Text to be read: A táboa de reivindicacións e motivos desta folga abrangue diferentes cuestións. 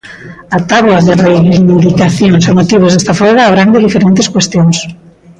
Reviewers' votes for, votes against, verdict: 0, 2, rejected